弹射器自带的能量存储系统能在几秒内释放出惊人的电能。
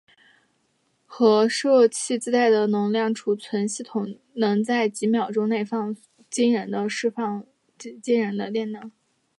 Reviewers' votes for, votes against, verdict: 0, 2, rejected